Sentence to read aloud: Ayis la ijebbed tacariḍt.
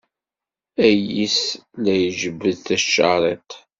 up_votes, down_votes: 2, 0